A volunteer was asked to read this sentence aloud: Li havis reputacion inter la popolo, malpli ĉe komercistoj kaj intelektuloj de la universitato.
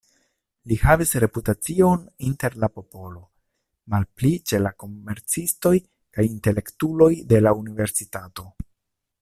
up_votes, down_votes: 1, 2